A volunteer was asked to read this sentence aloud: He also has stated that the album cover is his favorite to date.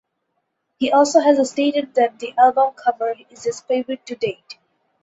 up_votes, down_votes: 4, 0